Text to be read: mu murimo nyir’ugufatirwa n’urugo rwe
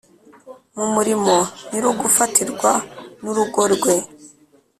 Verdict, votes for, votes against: accepted, 2, 0